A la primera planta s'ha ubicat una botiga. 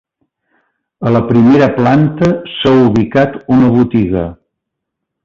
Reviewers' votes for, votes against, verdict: 3, 0, accepted